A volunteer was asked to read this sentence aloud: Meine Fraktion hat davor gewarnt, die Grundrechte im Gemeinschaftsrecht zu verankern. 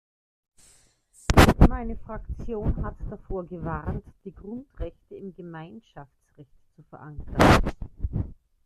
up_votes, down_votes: 1, 2